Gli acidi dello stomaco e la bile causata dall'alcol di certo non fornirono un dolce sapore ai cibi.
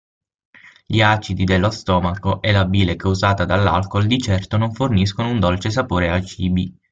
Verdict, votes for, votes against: rejected, 0, 6